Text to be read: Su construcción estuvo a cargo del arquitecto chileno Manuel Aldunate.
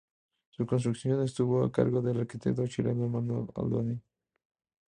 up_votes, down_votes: 2, 2